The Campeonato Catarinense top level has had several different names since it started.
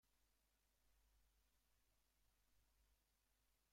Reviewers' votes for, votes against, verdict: 0, 2, rejected